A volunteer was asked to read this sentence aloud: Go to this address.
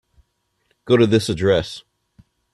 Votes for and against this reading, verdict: 3, 0, accepted